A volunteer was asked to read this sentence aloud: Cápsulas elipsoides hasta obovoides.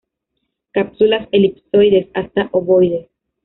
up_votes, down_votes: 0, 2